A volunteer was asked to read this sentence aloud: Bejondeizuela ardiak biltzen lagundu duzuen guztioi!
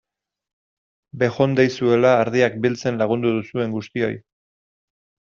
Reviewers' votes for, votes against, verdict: 2, 0, accepted